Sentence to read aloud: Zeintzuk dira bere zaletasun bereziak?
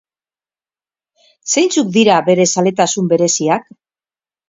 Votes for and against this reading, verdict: 4, 0, accepted